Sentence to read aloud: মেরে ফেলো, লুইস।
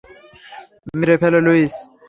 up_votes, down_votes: 0, 3